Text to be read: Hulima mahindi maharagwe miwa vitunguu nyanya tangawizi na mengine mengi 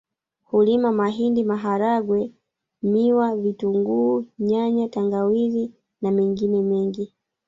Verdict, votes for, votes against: rejected, 1, 2